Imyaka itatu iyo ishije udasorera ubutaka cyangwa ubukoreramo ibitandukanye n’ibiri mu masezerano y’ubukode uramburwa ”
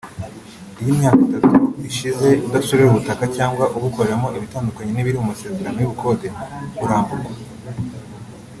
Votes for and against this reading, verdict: 0, 2, rejected